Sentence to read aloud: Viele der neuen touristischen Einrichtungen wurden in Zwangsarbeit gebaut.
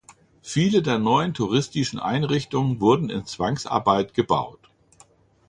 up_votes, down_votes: 2, 0